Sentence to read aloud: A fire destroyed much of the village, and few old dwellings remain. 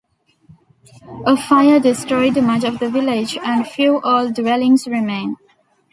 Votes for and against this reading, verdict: 2, 0, accepted